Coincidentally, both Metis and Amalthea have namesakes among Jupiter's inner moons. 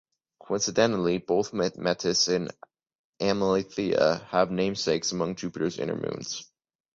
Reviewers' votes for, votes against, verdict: 1, 3, rejected